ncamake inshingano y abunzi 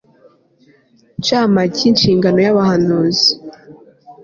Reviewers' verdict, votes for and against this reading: rejected, 0, 2